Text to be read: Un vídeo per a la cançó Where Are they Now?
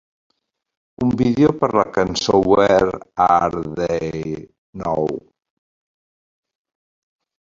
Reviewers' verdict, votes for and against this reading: rejected, 1, 2